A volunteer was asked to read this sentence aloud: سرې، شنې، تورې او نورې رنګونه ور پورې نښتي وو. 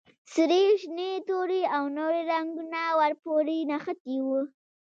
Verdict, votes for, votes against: accepted, 2, 0